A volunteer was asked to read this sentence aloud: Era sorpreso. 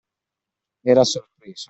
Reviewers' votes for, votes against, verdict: 2, 0, accepted